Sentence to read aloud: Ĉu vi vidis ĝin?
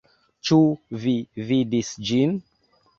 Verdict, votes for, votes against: accepted, 2, 0